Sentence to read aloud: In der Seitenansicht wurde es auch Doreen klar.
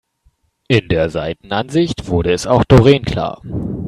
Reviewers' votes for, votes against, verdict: 3, 0, accepted